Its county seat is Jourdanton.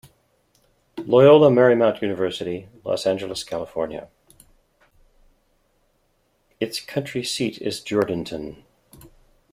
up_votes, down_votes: 1, 2